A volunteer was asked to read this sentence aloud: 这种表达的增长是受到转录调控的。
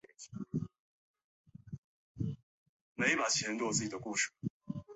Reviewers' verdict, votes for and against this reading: rejected, 3, 5